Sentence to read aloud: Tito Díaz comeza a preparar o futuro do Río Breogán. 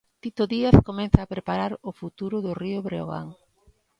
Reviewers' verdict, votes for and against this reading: rejected, 1, 2